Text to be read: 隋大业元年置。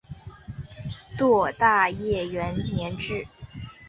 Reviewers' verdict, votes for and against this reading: rejected, 1, 2